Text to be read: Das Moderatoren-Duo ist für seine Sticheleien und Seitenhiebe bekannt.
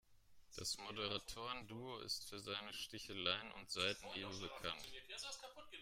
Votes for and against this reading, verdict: 1, 2, rejected